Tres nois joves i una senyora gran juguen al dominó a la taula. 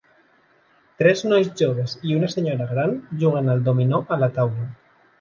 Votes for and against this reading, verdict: 3, 0, accepted